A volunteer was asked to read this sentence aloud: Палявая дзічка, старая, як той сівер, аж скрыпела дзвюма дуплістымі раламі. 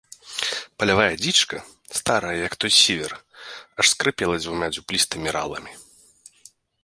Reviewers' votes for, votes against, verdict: 2, 0, accepted